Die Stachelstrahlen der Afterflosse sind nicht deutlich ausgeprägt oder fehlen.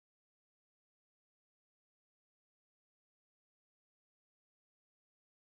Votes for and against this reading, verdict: 0, 2, rejected